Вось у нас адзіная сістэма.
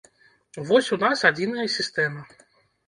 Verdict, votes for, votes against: accepted, 2, 0